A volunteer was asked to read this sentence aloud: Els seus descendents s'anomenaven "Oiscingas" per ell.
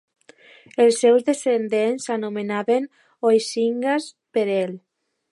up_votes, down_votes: 2, 0